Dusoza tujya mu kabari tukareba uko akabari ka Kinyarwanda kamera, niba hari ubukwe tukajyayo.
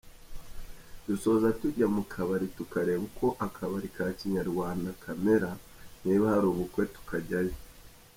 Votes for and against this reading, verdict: 2, 0, accepted